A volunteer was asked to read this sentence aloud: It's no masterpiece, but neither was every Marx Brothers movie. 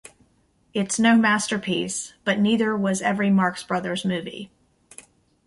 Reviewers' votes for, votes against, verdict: 2, 0, accepted